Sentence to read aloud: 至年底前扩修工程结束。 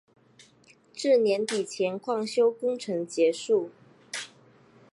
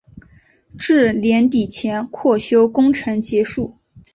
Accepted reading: second